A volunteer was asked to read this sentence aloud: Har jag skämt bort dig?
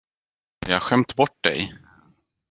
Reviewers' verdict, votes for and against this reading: rejected, 2, 4